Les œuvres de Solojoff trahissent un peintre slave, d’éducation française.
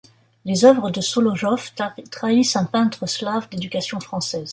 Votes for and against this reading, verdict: 1, 2, rejected